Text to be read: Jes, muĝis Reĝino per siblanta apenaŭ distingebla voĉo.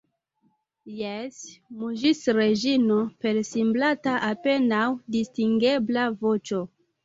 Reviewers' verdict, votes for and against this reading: accepted, 2, 0